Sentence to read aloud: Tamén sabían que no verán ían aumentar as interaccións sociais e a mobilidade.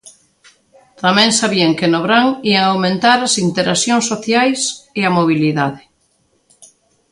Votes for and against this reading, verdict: 2, 1, accepted